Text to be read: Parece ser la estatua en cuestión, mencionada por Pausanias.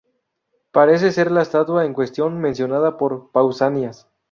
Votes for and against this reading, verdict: 2, 0, accepted